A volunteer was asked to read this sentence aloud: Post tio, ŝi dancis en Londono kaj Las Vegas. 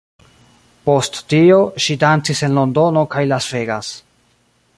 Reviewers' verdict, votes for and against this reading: accepted, 2, 1